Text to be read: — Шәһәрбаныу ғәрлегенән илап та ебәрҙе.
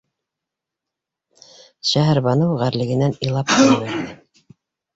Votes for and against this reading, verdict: 0, 2, rejected